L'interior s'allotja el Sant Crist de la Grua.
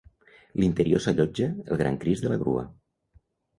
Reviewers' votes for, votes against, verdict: 1, 2, rejected